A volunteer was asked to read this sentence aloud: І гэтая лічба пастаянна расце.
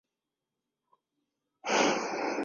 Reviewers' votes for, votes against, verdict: 0, 2, rejected